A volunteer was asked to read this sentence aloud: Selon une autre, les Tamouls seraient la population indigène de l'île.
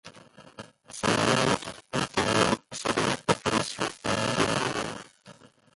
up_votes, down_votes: 0, 2